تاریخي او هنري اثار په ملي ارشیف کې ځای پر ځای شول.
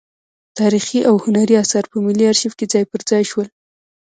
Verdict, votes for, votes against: rejected, 0, 2